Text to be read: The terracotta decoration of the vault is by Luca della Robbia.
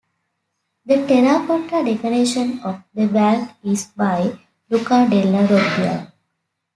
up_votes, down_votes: 2, 1